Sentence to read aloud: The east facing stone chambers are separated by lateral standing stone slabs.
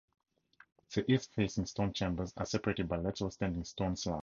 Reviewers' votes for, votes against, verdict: 0, 2, rejected